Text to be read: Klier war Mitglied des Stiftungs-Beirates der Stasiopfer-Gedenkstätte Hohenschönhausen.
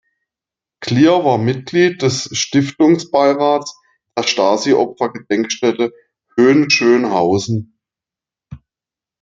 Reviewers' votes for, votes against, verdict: 1, 2, rejected